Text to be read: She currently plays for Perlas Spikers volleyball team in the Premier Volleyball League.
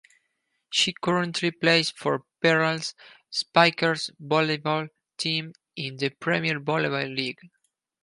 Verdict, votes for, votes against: accepted, 4, 0